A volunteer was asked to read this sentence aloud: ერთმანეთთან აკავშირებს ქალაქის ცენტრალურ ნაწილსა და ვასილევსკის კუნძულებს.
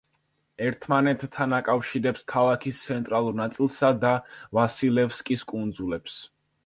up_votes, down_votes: 2, 0